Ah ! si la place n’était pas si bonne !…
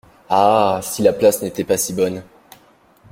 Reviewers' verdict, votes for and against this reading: accepted, 2, 0